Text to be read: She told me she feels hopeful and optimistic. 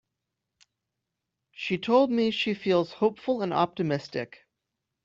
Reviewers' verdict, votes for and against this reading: accepted, 2, 0